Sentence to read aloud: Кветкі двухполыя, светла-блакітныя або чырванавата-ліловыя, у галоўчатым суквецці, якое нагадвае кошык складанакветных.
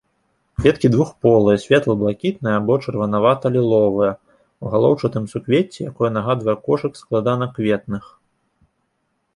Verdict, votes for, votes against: accepted, 2, 0